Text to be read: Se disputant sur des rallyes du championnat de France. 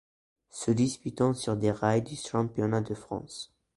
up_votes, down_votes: 0, 2